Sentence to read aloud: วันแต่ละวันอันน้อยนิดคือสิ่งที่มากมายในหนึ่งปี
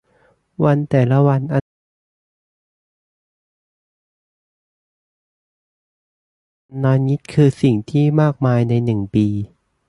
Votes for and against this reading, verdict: 0, 2, rejected